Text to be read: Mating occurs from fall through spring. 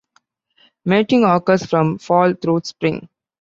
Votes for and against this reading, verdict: 2, 0, accepted